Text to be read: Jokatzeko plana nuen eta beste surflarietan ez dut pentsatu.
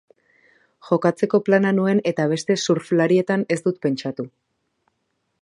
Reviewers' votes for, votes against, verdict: 2, 0, accepted